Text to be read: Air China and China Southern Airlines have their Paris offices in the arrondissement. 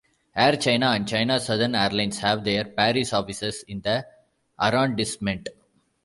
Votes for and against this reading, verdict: 1, 2, rejected